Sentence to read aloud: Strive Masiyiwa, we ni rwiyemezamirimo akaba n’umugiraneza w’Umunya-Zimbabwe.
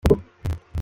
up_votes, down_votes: 1, 2